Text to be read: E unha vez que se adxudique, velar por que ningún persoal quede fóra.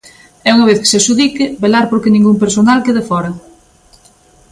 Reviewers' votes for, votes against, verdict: 2, 1, accepted